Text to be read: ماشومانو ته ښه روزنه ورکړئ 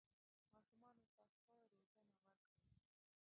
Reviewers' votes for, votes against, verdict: 0, 2, rejected